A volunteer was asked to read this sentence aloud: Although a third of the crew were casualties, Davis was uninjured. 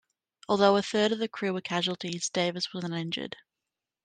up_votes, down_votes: 2, 1